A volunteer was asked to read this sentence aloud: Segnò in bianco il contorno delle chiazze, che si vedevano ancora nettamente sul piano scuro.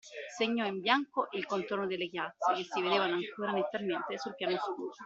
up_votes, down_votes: 0, 2